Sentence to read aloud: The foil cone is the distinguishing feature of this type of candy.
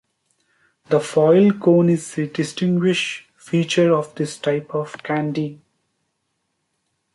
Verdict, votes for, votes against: rejected, 0, 2